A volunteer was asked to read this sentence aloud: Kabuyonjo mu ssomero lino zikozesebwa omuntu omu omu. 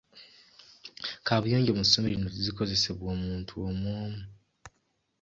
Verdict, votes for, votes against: rejected, 0, 2